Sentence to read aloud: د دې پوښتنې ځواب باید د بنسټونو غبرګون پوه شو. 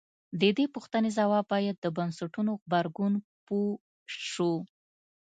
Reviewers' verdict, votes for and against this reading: accepted, 2, 0